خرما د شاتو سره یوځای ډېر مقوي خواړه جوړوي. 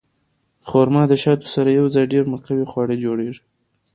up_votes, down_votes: 0, 2